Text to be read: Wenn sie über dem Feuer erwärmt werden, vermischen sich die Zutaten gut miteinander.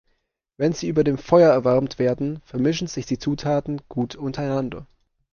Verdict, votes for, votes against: rejected, 1, 2